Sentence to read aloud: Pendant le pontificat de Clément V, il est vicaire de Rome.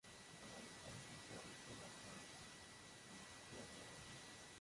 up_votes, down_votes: 0, 2